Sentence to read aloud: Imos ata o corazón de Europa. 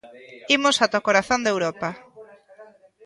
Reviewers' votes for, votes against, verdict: 1, 2, rejected